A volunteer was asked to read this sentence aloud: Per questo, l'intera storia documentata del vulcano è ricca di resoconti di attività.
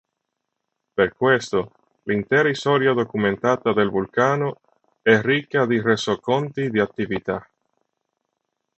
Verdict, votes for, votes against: rejected, 1, 2